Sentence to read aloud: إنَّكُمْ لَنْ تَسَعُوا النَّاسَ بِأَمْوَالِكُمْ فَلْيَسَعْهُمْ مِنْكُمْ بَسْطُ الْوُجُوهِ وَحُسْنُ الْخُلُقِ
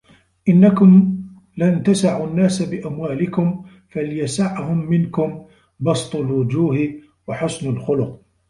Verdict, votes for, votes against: rejected, 0, 2